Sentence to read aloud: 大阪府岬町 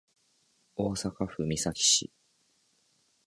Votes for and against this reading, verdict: 1, 5, rejected